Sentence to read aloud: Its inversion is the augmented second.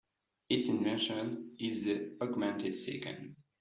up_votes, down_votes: 1, 2